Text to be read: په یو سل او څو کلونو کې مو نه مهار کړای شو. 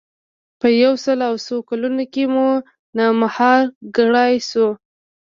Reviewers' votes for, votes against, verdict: 0, 2, rejected